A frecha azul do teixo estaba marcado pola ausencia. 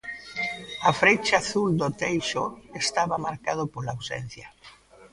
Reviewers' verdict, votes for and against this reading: rejected, 1, 2